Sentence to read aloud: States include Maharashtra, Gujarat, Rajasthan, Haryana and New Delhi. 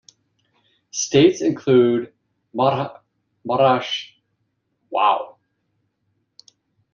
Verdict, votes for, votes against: rejected, 0, 2